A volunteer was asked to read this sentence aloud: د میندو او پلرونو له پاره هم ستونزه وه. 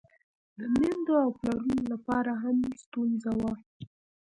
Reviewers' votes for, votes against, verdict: 1, 2, rejected